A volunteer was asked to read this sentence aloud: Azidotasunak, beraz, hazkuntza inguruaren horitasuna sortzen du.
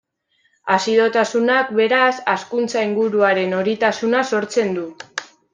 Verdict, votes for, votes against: accepted, 2, 0